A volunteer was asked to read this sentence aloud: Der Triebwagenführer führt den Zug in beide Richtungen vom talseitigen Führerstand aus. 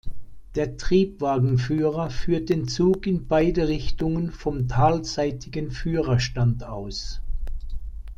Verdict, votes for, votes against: accepted, 2, 0